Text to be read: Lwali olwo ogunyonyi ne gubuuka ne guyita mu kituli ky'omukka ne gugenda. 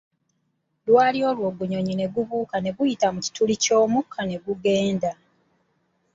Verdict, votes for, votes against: accepted, 2, 0